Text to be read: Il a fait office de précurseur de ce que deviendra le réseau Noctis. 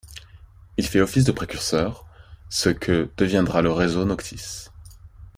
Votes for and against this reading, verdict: 0, 2, rejected